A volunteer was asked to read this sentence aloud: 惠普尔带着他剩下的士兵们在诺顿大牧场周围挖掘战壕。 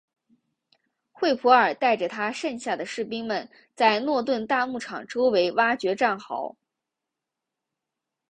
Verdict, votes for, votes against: accepted, 5, 0